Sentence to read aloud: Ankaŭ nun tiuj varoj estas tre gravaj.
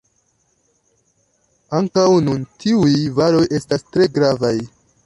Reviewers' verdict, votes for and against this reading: accepted, 2, 0